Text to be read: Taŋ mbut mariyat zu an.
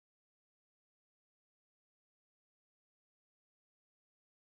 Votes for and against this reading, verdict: 0, 2, rejected